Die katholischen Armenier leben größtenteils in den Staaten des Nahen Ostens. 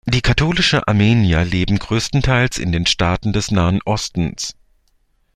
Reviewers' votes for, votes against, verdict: 1, 2, rejected